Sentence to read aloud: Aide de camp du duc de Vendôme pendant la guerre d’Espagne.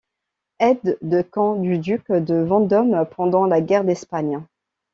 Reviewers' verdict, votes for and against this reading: accepted, 2, 0